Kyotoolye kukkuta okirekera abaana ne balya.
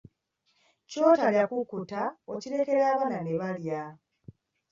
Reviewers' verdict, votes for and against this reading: rejected, 1, 2